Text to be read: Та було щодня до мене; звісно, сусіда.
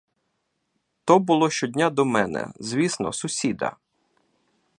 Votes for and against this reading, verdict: 1, 2, rejected